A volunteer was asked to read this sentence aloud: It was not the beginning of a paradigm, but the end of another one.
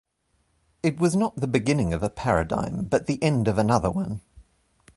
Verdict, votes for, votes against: accepted, 2, 1